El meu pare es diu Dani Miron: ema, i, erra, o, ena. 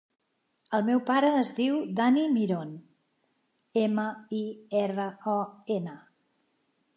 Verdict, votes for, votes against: accepted, 5, 0